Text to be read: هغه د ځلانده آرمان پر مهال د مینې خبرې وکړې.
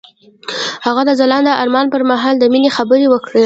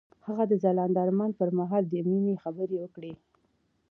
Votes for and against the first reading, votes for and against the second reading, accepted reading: 0, 2, 2, 0, second